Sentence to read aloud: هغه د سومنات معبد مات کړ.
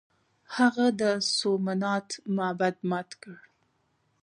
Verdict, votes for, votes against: rejected, 0, 2